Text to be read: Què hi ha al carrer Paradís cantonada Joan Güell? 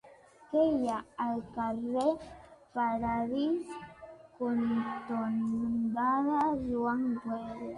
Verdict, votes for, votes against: rejected, 0, 2